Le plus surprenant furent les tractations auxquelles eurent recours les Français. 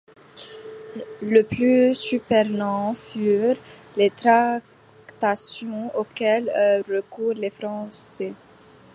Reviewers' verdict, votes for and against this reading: accepted, 2, 0